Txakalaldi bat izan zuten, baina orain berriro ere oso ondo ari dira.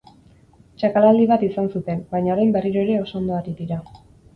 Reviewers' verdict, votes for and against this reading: accepted, 10, 0